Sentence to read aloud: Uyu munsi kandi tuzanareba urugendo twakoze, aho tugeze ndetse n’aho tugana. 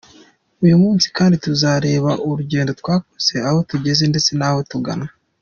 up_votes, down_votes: 1, 2